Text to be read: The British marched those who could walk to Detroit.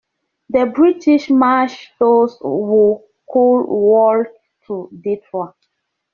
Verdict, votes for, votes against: rejected, 0, 2